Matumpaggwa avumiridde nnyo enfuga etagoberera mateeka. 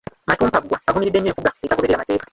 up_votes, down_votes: 0, 2